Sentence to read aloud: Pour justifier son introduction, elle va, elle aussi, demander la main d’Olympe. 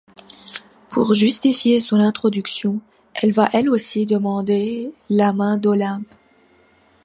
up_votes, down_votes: 2, 0